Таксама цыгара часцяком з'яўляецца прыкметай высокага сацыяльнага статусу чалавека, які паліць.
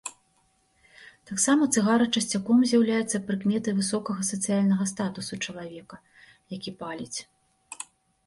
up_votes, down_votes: 2, 0